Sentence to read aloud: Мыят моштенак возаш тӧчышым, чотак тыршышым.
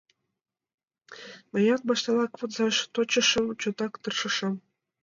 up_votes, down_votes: 2, 1